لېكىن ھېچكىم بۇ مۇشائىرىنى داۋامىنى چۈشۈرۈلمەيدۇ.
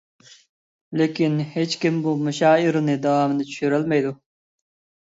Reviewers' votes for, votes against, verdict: 2, 1, accepted